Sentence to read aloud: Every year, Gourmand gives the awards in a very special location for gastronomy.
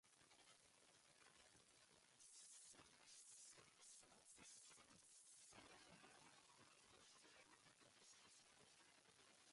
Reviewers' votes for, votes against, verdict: 0, 2, rejected